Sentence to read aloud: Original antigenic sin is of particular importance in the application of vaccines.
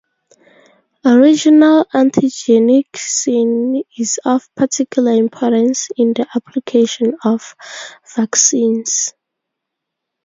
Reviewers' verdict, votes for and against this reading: accepted, 4, 0